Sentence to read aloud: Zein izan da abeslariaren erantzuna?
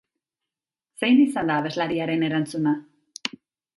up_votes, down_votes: 2, 0